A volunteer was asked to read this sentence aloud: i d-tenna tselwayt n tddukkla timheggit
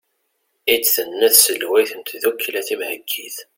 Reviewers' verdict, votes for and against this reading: accepted, 2, 0